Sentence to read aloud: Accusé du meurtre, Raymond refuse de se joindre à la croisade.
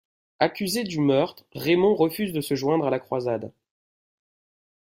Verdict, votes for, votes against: accepted, 2, 0